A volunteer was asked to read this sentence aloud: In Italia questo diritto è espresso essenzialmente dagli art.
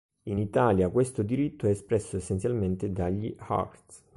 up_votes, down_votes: 0, 2